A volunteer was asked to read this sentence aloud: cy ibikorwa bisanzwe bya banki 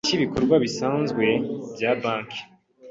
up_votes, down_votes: 2, 1